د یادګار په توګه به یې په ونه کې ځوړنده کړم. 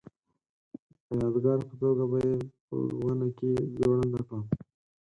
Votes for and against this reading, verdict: 0, 4, rejected